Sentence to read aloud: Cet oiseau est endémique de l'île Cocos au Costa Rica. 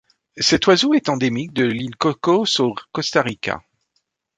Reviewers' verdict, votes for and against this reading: accepted, 2, 0